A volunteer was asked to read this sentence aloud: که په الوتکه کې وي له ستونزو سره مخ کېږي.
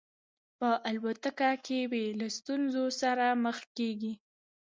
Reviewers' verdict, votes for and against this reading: rejected, 0, 2